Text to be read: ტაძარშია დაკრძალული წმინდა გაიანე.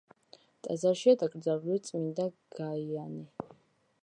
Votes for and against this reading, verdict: 2, 0, accepted